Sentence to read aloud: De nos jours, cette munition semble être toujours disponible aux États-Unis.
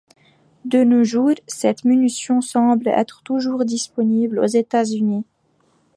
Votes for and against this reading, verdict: 2, 0, accepted